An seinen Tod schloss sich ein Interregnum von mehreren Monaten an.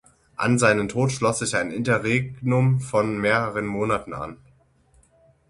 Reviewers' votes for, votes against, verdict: 6, 0, accepted